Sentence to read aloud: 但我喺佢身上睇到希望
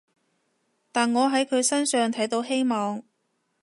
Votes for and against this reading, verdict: 2, 0, accepted